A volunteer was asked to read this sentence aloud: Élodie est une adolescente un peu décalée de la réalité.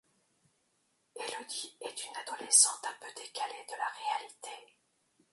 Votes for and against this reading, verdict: 1, 2, rejected